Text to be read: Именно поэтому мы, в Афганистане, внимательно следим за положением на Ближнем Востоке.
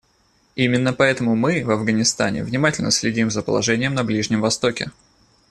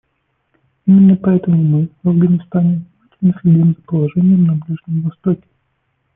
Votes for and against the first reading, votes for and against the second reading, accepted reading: 2, 0, 0, 2, first